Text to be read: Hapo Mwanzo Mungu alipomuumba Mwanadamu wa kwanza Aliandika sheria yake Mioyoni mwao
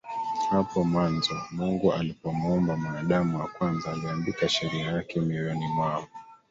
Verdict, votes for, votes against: rejected, 0, 2